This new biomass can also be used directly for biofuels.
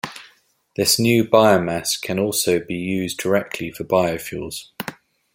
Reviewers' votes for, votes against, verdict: 2, 0, accepted